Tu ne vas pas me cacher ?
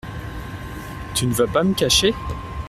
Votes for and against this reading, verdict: 3, 1, accepted